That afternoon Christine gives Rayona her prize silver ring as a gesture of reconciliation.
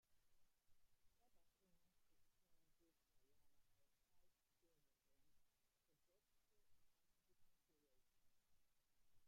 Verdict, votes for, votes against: rejected, 0, 2